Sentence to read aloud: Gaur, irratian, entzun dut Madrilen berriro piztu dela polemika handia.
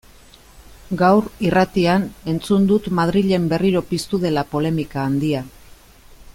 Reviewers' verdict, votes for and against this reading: accepted, 2, 0